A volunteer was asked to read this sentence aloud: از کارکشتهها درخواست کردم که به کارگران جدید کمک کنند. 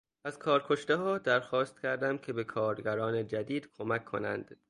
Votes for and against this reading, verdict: 3, 0, accepted